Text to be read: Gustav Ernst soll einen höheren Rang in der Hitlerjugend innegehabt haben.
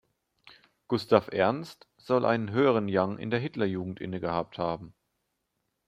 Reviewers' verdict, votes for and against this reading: rejected, 0, 2